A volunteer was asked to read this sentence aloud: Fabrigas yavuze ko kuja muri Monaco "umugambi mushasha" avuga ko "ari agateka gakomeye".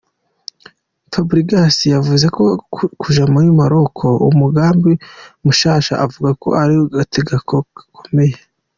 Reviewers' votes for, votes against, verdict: 0, 2, rejected